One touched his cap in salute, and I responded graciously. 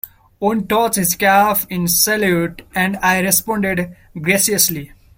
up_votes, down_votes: 2, 1